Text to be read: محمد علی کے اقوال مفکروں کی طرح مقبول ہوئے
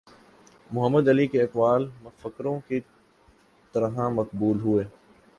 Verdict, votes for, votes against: accepted, 2, 0